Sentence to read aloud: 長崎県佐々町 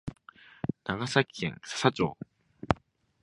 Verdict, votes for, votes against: accepted, 2, 1